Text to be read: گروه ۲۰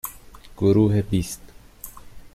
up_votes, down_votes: 0, 2